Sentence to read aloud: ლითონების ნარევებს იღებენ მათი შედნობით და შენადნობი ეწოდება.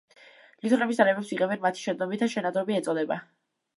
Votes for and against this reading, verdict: 0, 2, rejected